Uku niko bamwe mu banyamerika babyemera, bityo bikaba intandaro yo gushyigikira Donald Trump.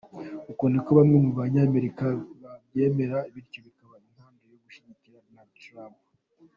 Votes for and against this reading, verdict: 1, 2, rejected